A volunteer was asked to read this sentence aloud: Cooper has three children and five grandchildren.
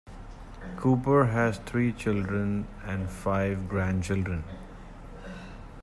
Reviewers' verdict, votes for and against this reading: accepted, 2, 0